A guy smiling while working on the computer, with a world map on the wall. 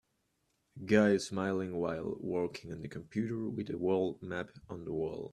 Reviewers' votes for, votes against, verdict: 1, 2, rejected